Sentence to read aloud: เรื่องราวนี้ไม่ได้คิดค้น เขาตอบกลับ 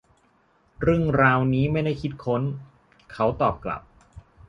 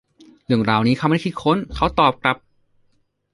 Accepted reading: first